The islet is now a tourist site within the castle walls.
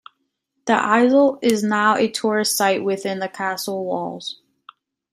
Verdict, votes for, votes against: accepted, 2, 1